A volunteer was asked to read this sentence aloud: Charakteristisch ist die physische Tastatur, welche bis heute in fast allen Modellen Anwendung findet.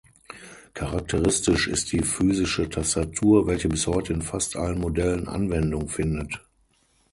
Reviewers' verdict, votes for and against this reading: rejected, 3, 6